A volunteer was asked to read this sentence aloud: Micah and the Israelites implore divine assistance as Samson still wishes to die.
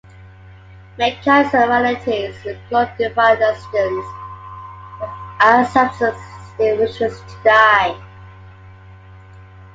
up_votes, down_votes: 1, 2